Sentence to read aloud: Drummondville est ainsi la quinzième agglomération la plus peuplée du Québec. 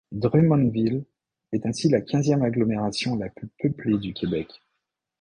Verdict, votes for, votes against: accepted, 2, 0